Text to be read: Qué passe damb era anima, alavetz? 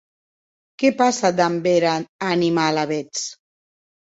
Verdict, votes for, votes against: accepted, 4, 0